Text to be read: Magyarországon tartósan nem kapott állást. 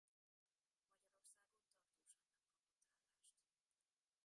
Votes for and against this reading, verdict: 0, 2, rejected